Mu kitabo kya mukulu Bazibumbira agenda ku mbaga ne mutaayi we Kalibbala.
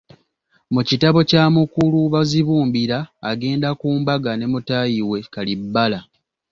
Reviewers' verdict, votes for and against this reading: accepted, 2, 0